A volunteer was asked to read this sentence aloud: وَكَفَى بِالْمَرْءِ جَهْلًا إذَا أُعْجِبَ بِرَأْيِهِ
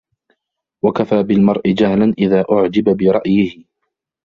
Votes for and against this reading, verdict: 0, 2, rejected